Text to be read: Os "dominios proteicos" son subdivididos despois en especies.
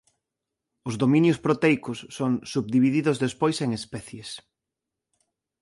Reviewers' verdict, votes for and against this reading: accepted, 2, 0